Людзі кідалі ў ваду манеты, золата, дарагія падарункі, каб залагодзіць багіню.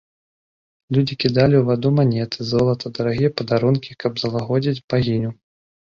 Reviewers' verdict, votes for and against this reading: accepted, 2, 0